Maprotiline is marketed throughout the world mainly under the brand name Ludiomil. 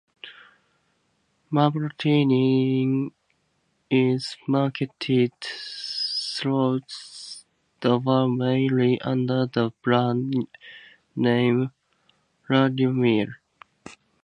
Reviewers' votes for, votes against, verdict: 0, 2, rejected